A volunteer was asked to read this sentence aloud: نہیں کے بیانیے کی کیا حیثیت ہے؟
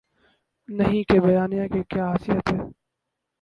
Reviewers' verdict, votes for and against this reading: rejected, 0, 2